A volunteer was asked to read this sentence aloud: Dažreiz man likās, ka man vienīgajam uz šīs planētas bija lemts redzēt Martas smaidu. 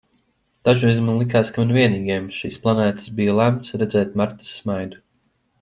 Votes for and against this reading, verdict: 2, 0, accepted